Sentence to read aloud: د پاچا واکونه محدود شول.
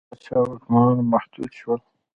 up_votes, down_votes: 2, 1